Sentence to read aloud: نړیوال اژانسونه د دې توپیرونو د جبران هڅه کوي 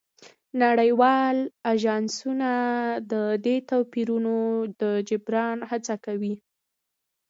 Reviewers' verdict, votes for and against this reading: accepted, 2, 0